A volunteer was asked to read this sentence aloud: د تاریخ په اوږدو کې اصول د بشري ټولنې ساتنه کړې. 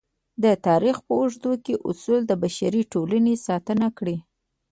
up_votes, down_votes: 1, 2